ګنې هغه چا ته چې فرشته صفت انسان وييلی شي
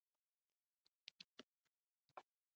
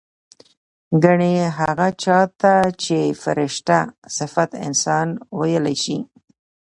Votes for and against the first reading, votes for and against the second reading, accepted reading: 1, 2, 2, 0, second